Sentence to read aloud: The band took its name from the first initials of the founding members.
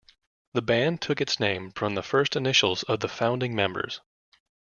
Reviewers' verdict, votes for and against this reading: accepted, 2, 0